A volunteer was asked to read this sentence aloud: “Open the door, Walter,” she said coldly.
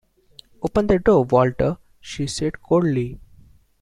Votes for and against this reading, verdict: 2, 0, accepted